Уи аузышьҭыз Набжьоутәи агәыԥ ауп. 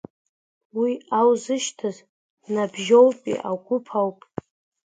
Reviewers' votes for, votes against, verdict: 0, 2, rejected